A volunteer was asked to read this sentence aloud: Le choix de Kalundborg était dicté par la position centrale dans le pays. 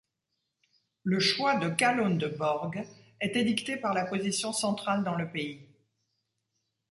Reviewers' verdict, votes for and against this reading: accepted, 2, 0